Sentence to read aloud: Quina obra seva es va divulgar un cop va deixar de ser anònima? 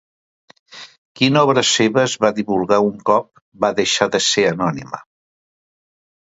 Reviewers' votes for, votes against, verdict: 1, 2, rejected